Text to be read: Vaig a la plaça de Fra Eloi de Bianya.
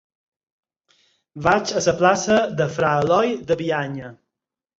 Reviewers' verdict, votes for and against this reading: rejected, 2, 4